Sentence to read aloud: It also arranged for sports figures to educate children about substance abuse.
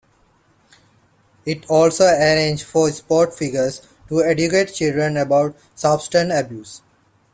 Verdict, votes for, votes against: accepted, 2, 1